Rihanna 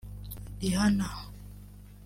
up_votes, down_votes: 1, 2